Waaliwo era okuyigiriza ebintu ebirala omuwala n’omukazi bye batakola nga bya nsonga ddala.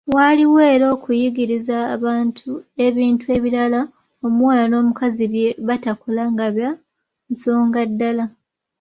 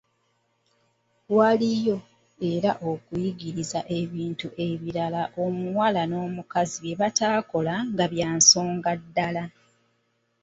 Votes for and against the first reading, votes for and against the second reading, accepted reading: 2, 0, 0, 3, first